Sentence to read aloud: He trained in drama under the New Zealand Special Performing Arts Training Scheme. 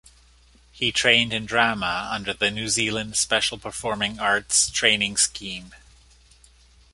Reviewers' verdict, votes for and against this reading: accepted, 2, 0